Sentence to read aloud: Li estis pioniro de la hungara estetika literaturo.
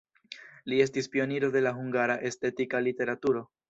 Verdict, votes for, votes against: accepted, 2, 0